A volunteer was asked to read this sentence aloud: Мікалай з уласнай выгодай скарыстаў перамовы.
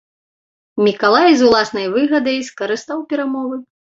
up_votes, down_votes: 1, 2